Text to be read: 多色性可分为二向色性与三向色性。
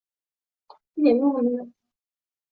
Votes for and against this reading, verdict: 1, 3, rejected